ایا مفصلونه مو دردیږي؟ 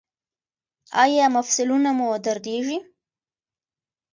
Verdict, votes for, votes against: accepted, 2, 0